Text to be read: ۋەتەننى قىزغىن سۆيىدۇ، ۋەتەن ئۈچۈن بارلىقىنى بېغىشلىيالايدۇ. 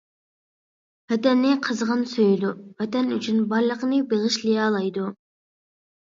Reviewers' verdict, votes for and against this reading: accepted, 2, 0